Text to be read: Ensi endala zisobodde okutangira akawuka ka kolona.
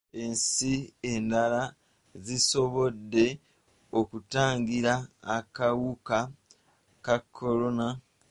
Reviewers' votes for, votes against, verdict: 1, 2, rejected